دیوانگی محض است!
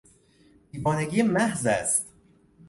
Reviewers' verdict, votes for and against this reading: accepted, 2, 0